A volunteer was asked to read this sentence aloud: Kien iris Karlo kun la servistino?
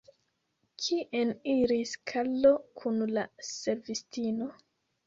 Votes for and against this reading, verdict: 2, 0, accepted